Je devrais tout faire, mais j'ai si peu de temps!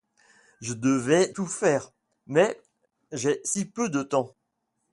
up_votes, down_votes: 2, 1